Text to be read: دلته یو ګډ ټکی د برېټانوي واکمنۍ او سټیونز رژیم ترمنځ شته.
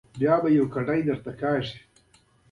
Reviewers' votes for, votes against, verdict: 2, 0, accepted